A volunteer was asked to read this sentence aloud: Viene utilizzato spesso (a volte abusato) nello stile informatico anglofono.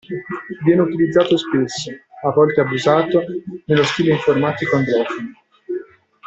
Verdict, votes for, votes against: rejected, 0, 2